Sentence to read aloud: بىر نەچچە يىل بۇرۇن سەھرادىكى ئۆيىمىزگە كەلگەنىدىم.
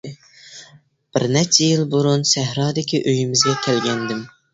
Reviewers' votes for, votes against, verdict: 2, 0, accepted